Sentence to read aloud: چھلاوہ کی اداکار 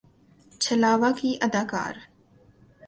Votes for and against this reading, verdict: 8, 0, accepted